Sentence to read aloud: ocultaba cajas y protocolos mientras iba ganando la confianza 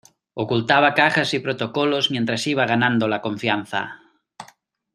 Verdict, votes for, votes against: accepted, 2, 0